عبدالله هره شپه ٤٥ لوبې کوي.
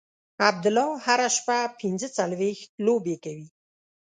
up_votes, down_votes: 0, 2